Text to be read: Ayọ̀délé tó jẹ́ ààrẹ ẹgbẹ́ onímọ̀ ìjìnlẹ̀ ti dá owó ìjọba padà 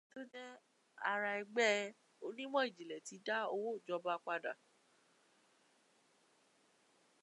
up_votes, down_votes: 0, 2